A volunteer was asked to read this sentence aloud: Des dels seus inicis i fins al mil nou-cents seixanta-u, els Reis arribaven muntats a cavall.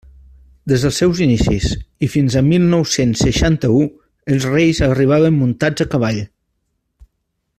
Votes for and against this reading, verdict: 2, 0, accepted